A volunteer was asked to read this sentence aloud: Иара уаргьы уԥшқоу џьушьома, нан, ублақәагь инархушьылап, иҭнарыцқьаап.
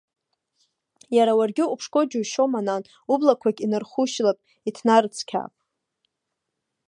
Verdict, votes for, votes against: accepted, 2, 0